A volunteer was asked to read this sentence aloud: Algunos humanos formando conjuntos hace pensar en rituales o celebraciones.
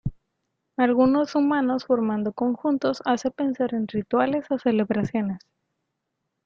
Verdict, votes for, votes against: rejected, 1, 2